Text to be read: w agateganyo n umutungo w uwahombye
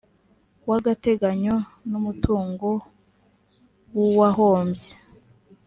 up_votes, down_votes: 3, 0